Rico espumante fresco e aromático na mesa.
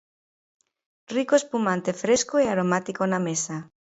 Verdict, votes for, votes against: accepted, 2, 0